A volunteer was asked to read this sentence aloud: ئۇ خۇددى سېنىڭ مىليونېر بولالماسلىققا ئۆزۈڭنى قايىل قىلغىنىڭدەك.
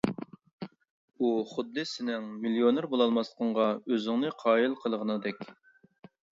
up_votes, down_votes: 0, 2